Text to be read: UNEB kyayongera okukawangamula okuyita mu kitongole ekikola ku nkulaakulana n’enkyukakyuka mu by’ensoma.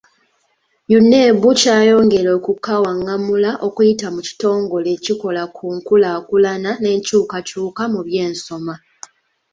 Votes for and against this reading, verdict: 2, 0, accepted